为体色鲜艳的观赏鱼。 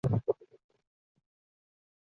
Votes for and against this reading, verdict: 0, 2, rejected